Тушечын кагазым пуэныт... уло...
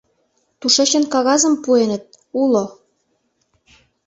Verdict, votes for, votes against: accepted, 2, 0